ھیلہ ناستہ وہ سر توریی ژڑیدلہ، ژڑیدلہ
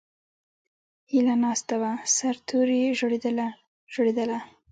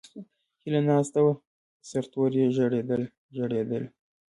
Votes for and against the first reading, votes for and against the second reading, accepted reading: 1, 2, 2, 1, second